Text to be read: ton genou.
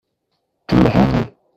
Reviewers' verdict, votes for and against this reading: rejected, 0, 2